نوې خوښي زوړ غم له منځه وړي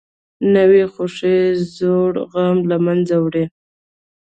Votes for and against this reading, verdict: 1, 2, rejected